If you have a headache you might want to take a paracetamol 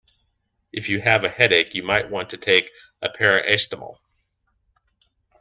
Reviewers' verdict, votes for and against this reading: rejected, 1, 2